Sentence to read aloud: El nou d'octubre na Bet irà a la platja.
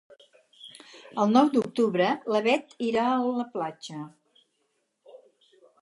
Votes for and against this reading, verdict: 2, 6, rejected